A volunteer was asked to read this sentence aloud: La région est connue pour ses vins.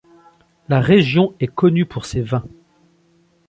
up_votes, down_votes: 2, 0